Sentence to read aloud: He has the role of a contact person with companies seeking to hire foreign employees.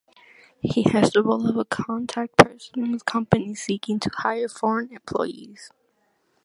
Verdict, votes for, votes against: accepted, 2, 0